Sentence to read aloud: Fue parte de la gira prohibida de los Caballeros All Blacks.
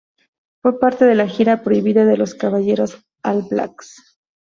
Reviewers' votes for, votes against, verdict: 2, 0, accepted